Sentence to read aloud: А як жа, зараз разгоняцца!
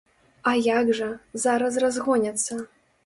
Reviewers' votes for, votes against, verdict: 2, 0, accepted